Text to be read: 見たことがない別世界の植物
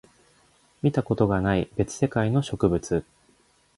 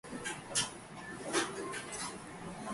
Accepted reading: first